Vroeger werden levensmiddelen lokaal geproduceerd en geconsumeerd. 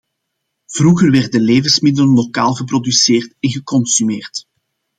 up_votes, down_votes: 2, 0